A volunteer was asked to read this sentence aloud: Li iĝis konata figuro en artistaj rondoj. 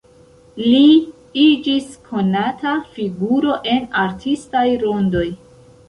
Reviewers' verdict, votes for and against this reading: rejected, 1, 2